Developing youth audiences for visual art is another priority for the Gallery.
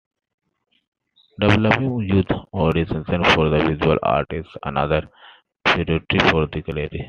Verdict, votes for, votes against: accepted, 2, 1